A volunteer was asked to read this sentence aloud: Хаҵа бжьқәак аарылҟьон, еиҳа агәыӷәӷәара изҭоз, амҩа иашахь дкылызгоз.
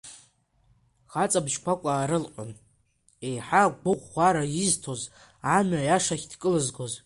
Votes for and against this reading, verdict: 2, 1, accepted